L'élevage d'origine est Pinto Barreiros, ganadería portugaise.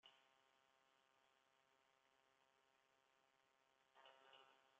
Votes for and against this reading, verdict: 0, 2, rejected